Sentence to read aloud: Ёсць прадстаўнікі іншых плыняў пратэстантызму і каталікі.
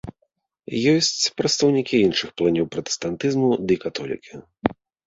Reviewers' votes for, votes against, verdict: 1, 2, rejected